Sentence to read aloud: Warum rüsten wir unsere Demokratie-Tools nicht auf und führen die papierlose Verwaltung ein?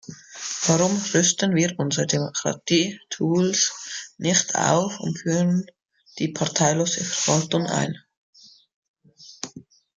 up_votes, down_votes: 0, 2